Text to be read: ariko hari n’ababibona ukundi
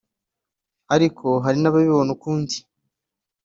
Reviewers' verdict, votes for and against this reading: accepted, 2, 0